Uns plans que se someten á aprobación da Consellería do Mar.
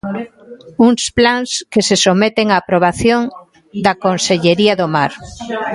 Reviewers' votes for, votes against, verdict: 0, 2, rejected